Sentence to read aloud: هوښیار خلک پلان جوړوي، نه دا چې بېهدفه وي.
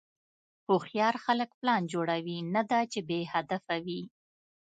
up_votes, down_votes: 2, 0